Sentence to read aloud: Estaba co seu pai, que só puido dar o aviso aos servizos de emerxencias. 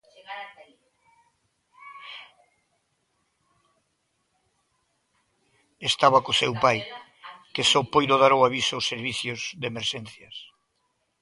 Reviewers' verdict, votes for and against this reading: rejected, 0, 2